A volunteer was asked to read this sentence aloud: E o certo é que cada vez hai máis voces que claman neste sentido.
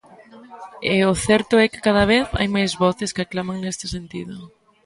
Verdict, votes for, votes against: accepted, 2, 1